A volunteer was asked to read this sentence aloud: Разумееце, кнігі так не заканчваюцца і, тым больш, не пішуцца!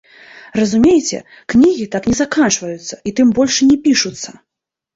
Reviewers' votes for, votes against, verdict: 2, 0, accepted